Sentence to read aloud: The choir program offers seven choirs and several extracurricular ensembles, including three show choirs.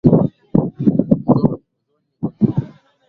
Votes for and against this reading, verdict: 0, 2, rejected